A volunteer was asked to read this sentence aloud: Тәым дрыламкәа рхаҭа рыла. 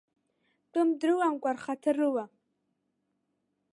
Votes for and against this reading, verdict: 3, 1, accepted